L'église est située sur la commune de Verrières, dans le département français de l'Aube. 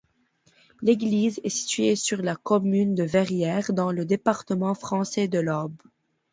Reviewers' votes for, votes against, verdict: 2, 0, accepted